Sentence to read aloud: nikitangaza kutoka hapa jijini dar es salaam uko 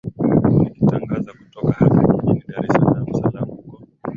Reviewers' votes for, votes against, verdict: 0, 2, rejected